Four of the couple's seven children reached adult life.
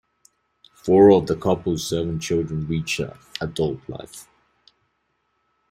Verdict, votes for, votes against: rejected, 1, 2